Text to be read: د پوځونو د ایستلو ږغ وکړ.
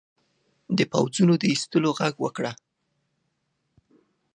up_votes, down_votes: 0, 2